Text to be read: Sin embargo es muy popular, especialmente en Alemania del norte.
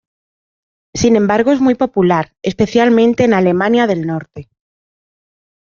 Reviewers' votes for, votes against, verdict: 2, 0, accepted